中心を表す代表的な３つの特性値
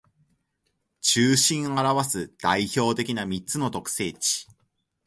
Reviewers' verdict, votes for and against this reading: rejected, 0, 2